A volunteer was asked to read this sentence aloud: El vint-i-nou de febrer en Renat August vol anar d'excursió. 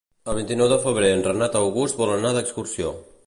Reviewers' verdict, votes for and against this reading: accepted, 2, 0